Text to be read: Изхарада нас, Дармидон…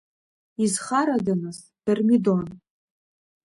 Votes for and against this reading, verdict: 2, 0, accepted